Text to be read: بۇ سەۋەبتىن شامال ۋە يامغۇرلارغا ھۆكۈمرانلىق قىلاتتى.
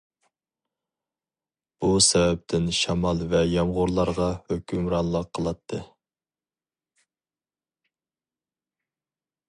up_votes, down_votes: 4, 0